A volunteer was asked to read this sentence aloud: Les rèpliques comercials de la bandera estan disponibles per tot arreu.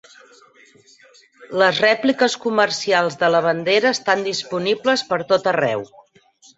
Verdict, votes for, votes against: accepted, 8, 2